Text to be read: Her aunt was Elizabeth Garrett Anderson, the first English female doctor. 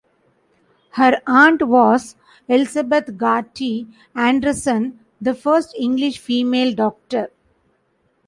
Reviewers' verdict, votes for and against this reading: rejected, 0, 2